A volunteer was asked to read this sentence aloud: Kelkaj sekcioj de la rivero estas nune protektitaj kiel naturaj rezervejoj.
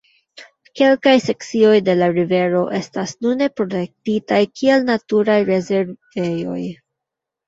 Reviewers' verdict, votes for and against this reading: rejected, 0, 2